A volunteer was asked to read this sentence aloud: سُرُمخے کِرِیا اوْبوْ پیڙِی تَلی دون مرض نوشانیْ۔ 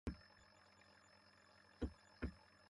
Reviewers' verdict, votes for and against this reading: rejected, 0, 2